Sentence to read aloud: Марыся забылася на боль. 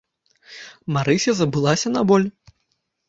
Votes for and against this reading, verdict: 1, 2, rejected